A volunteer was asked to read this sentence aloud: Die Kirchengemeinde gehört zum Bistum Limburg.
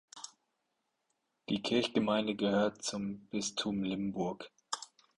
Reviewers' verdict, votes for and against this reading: rejected, 2, 4